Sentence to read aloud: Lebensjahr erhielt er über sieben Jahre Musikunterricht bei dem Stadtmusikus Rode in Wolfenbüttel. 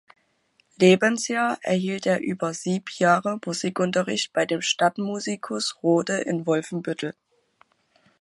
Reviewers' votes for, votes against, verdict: 1, 2, rejected